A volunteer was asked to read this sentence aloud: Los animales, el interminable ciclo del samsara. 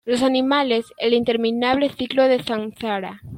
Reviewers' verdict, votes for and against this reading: accepted, 2, 0